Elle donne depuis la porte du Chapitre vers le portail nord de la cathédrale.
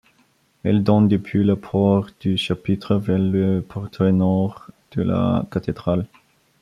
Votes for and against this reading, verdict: 1, 2, rejected